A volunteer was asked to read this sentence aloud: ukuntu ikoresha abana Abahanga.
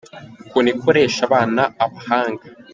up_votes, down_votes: 2, 0